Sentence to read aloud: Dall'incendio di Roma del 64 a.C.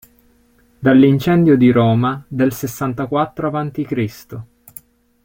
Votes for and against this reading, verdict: 0, 2, rejected